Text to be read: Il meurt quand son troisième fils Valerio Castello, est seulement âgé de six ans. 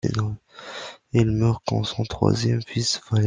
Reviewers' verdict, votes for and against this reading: rejected, 0, 2